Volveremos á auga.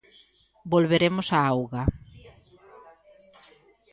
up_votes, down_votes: 1, 2